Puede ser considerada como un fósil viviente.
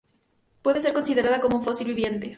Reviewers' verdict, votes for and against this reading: accepted, 2, 0